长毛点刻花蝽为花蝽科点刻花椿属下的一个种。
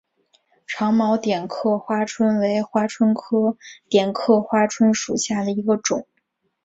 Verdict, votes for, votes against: accepted, 2, 0